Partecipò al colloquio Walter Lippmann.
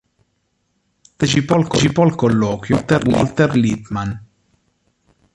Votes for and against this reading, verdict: 0, 2, rejected